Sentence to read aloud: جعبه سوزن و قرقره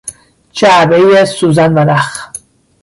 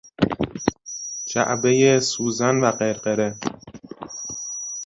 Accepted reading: second